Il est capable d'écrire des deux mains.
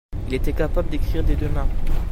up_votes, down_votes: 0, 2